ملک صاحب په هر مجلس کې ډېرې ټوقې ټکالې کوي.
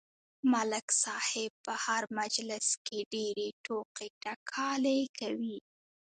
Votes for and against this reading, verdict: 3, 0, accepted